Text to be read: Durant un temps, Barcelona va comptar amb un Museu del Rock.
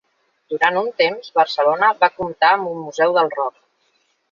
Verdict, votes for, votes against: accepted, 2, 1